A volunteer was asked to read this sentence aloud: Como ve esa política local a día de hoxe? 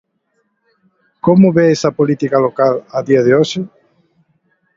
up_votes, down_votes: 3, 0